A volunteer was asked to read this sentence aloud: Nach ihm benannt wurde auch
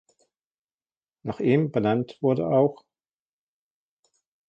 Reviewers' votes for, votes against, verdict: 0, 2, rejected